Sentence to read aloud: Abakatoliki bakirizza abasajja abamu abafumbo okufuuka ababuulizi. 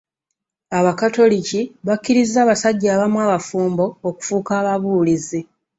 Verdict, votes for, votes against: accepted, 2, 0